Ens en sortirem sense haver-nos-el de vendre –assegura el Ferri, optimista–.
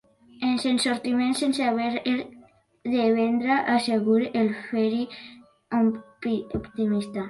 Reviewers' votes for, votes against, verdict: 1, 2, rejected